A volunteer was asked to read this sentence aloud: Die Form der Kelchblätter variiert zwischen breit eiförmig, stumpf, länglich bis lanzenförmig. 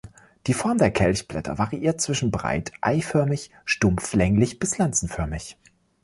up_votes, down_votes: 2, 0